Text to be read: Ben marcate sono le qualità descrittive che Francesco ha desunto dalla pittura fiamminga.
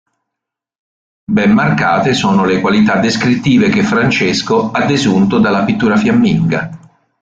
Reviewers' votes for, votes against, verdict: 2, 0, accepted